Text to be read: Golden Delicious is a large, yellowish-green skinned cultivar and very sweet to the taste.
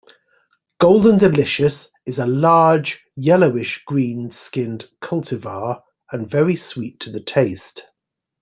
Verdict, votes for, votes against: accepted, 2, 0